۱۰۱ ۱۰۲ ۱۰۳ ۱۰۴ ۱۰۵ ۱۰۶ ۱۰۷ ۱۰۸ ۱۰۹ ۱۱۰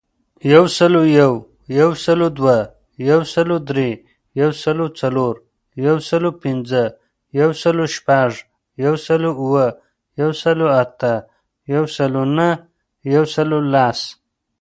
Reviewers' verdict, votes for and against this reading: rejected, 0, 2